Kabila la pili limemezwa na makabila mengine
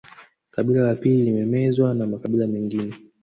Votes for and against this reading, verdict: 2, 0, accepted